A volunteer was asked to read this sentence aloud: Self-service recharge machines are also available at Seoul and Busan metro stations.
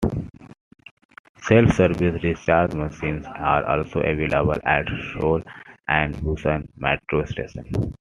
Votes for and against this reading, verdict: 0, 2, rejected